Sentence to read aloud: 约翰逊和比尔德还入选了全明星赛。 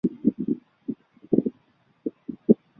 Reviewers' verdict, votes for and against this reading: rejected, 0, 6